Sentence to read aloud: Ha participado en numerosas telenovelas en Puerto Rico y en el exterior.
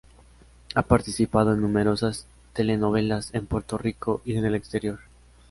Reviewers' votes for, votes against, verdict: 2, 0, accepted